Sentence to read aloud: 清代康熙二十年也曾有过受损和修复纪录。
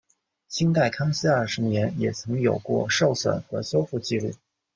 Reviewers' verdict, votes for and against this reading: accepted, 2, 0